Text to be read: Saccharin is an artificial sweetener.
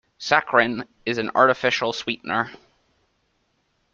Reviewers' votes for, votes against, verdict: 2, 0, accepted